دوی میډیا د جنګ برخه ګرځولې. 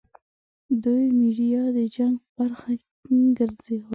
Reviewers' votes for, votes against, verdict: 2, 1, accepted